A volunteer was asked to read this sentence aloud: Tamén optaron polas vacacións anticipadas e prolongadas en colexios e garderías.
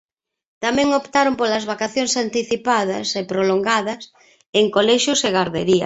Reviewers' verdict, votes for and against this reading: accepted, 2, 0